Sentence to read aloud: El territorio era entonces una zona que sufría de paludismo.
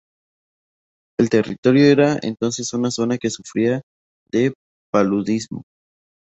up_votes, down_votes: 2, 0